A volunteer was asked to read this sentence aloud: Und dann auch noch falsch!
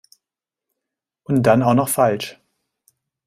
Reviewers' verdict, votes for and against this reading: accepted, 2, 0